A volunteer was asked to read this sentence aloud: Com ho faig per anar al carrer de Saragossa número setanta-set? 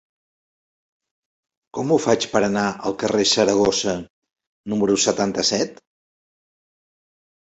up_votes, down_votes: 1, 2